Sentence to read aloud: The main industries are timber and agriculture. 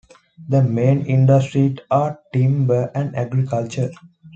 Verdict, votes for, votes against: rejected, 0, 2